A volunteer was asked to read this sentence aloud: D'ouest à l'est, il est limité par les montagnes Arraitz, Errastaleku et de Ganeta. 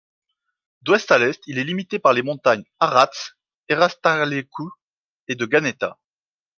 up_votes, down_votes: 0, 2